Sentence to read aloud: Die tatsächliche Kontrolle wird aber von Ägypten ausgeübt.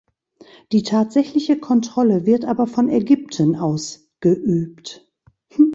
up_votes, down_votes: 2, 3